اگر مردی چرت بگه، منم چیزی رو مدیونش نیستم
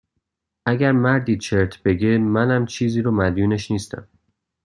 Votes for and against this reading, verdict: 2, 0, accepted